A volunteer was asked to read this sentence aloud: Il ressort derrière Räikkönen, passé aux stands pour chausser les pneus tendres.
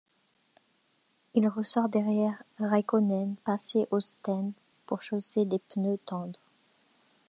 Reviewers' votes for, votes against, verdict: 0, 2, rejected